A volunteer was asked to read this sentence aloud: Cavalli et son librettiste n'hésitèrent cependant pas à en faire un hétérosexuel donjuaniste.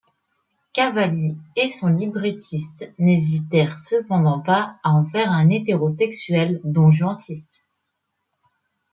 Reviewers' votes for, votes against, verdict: 1, 2, rejected